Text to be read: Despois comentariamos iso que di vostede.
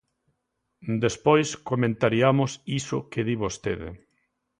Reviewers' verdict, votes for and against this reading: accepted, 2, 0